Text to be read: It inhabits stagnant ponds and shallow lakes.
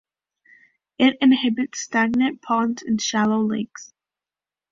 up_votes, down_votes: 2, 0